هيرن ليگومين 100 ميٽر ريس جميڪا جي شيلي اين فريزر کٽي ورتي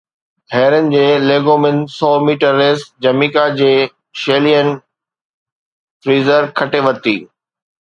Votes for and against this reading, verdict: 0, 2, rejected